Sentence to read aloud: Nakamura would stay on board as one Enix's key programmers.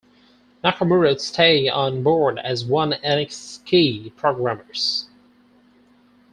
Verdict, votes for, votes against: accepted, 4, 2